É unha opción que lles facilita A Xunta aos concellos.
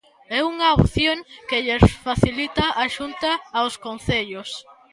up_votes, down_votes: 1, 2